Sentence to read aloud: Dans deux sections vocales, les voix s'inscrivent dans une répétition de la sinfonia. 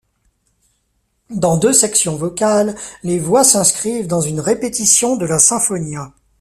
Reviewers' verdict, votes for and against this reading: accepted, 2, 0